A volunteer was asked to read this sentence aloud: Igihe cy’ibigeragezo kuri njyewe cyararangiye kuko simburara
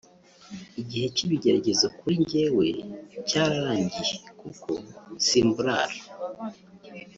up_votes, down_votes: 0, 2